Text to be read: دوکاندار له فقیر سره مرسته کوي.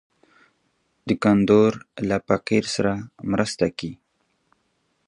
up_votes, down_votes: 1, 2